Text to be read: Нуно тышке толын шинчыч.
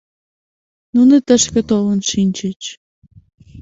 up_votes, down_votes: 2, 0